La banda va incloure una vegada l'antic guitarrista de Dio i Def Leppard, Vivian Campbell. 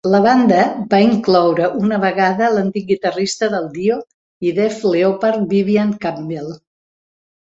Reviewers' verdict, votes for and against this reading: rejected, 1, 2